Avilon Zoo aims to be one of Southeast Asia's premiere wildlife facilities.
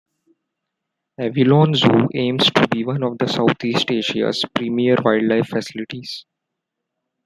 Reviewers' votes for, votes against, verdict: 2, 0, accepted